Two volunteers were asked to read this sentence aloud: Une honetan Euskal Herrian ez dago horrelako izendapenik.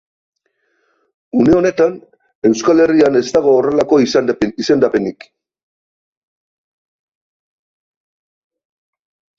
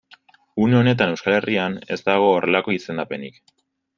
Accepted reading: second